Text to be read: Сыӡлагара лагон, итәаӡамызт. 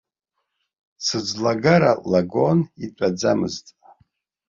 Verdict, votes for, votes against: accepted, 2, 0